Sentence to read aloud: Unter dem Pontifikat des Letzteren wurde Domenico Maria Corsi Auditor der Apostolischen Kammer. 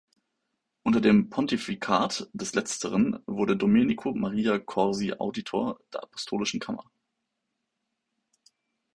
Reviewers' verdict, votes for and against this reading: accepted, 2, 0